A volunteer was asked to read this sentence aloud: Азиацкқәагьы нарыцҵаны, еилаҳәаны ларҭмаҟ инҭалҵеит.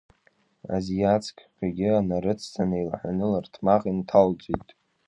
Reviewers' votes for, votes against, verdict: 2, 1, accepted